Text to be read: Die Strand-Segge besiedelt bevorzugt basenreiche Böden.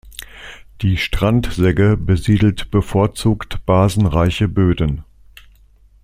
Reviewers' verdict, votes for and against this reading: accepted, 2, 0